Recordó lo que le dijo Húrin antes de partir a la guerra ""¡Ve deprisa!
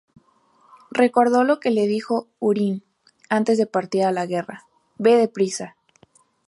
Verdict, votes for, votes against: rejected, 0, 2